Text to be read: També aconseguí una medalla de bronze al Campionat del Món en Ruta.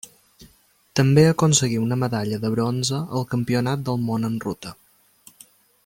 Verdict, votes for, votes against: accepted, 3, 0